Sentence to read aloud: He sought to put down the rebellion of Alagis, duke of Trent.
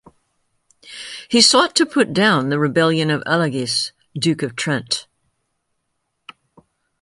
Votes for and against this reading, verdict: 3, 0, accepted